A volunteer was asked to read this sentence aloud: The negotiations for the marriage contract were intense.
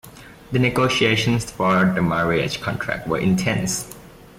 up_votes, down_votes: 2, 1